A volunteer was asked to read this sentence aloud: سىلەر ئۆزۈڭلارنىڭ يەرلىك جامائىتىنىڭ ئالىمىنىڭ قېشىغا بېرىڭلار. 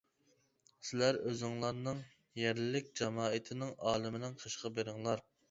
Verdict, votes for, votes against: accepted, 2, 0